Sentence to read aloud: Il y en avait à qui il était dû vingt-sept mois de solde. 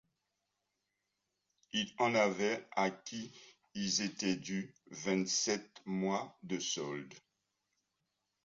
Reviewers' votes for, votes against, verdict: 1, 2, rejected